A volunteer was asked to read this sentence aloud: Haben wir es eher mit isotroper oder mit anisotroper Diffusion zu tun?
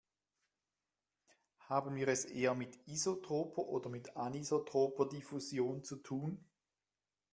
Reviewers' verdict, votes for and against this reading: accepted, 2, 0